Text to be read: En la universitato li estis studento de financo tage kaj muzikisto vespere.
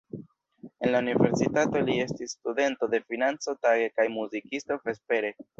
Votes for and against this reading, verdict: 0, 2, rejected